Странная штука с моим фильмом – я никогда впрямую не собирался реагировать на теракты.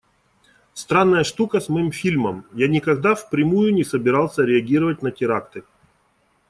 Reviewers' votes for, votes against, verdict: 2, 0, accepted